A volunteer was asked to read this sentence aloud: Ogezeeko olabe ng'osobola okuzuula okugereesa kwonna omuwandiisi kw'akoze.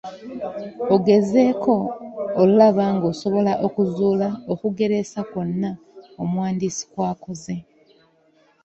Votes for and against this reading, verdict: 1, 2, rejected